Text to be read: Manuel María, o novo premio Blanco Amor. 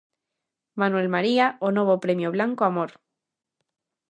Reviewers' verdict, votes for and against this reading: accepted, 2, 0